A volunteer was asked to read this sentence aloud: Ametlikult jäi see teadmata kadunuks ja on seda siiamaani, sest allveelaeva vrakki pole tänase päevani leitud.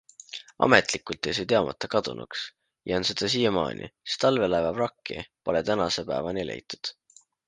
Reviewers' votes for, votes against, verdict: 2, 0, accepted